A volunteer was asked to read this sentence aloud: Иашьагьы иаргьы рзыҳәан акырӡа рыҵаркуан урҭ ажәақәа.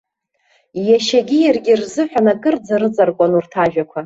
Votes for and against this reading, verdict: 2, 1, accepted